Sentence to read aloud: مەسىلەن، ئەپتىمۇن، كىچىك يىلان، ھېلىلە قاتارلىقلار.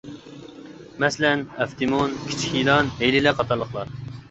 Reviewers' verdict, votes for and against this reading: accepted, 2, 1